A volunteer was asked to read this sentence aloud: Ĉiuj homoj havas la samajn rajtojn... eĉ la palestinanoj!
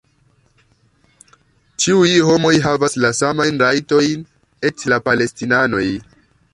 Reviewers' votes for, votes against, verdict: 2, 0, accepted